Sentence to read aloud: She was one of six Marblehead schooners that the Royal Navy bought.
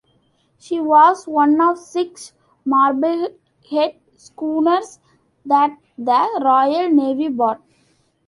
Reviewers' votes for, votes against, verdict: 2, 0, accepted